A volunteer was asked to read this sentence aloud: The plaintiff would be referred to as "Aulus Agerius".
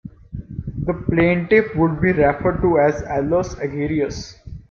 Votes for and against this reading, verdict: 2, 0, accepted